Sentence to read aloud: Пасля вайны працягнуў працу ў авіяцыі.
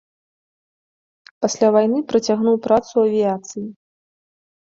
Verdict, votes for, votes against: accepted, 2, 0